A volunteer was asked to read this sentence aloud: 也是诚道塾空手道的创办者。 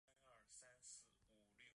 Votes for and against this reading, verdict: 0, 3, rejected